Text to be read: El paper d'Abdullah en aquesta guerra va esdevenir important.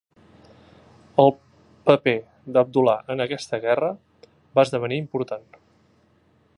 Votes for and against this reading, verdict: 0, 2, rejected